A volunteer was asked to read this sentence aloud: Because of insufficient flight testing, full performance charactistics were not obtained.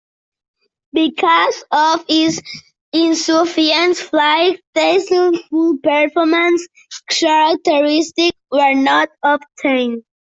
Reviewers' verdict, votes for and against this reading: rejected, 0, 2